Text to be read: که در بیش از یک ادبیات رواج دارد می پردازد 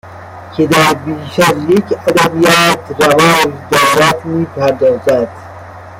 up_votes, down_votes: 1, 2